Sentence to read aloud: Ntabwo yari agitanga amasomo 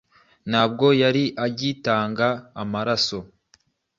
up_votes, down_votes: 1, 2